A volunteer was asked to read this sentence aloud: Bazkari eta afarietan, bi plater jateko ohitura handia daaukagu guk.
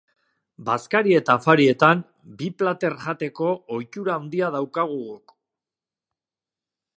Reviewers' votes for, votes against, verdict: 0, 2, rejected